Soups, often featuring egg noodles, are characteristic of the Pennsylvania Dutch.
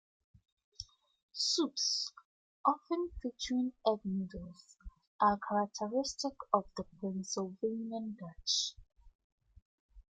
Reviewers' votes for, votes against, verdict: 2, 1, accepted